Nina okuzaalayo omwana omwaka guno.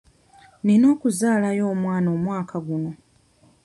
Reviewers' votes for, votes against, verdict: 2, 0, accepted